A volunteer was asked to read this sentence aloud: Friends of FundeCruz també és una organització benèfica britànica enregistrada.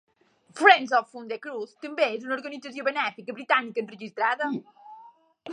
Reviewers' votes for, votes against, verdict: 1, 2, rejected